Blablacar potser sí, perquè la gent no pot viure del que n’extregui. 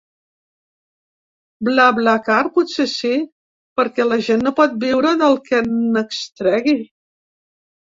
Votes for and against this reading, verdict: 1, 2, rejected